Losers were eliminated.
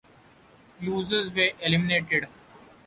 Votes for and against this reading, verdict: 2, 0, accepted